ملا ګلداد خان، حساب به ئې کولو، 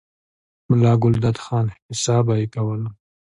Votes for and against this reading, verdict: 2, 0, accepted